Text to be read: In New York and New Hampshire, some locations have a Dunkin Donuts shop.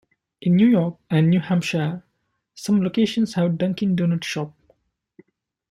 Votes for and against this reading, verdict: 2, 0, accepted